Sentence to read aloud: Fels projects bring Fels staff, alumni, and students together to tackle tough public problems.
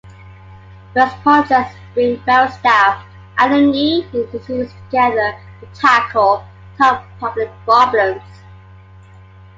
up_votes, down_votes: 1, 2